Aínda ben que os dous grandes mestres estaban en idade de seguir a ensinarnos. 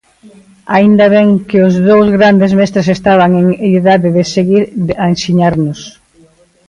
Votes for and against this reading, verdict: 0, 2, rejected